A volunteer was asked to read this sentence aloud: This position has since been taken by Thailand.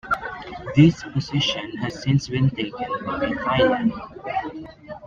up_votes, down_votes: 2, 1